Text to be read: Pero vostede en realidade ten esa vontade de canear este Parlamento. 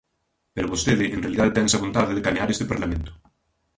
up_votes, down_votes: 2, 1